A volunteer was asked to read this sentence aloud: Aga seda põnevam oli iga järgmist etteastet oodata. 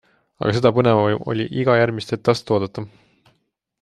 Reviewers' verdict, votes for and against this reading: accepted, 2, 0